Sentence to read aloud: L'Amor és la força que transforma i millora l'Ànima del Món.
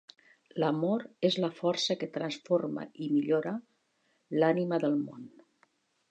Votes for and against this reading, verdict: 3, 0, accepted